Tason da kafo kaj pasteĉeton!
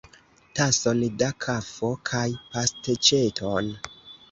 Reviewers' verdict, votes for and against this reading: accepted, 2, 0